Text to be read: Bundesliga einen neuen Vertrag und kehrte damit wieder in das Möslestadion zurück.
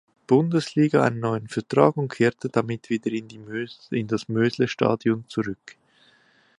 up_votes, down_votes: 0, 2